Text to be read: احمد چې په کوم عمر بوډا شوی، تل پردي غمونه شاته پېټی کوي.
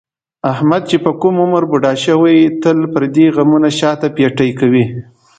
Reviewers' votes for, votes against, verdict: 2, 0, accepted